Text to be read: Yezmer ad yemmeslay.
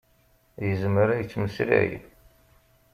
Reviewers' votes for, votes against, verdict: 0, 2, rejected